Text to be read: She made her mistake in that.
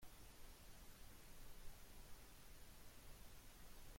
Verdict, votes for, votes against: rejected, 0, 2